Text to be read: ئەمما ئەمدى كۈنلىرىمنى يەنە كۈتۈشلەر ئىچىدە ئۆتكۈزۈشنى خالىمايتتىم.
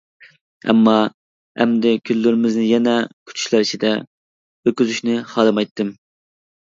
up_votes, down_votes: 0, 2